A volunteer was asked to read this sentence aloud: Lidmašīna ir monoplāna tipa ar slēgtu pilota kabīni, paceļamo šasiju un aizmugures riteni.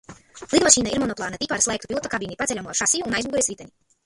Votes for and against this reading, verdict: 0, 2, rejected